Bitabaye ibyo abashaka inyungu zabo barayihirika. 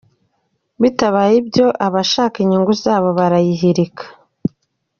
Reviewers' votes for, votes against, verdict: 3, 0, accepted